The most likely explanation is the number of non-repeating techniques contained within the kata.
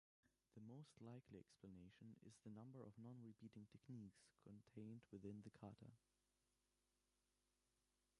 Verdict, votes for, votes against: rejected, 0, 2